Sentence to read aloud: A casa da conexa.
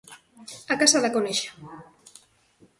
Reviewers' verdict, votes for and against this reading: accepted, 2, 0